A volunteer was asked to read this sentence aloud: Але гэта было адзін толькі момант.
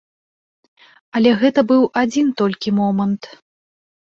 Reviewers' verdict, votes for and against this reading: rejected, 1, 2